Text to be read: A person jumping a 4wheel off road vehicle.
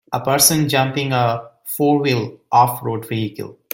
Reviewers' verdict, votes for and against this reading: rejected, 0, 2